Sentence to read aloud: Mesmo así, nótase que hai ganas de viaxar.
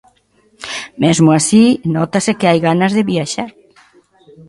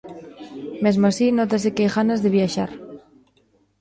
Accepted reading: first